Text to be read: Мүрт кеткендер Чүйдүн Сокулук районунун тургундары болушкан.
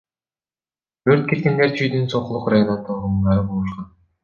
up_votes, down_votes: 1, 2